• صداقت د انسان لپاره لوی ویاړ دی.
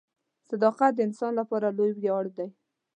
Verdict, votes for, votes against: accepted, 2, 0